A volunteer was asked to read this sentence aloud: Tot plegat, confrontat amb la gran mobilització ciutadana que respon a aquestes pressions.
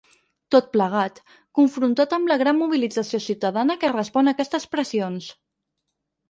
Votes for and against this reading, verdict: 6, 0, accepted